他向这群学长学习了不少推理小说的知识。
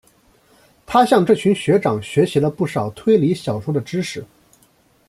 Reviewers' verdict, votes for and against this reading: accepted, 2, 0